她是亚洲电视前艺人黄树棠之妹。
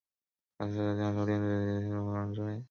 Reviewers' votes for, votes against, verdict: 2, 1, accepted